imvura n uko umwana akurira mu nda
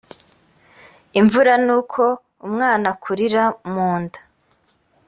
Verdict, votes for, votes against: accepted, 2, 0